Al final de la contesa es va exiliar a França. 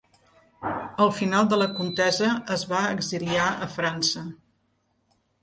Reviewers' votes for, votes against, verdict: 2, 0, accepted